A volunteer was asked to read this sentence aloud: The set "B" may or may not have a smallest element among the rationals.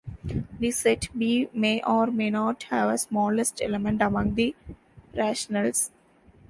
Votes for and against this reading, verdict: 2, 0, accepted